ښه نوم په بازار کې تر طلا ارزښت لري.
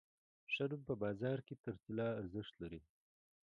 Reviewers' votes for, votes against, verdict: 2, 1, accepted